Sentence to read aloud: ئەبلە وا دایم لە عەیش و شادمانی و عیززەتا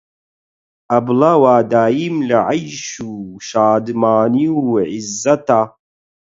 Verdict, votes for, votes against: rejected, 4, 8